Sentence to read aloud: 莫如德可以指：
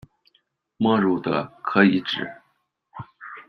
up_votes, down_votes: 2, 0